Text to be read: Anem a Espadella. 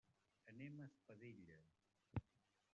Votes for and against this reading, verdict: 0, 2, rejected